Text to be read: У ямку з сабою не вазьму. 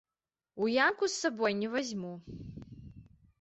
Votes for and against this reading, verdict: 2, 0, accepted